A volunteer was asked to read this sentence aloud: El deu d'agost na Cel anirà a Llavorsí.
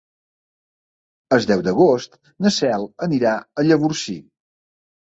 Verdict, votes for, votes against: accepted, 2, 0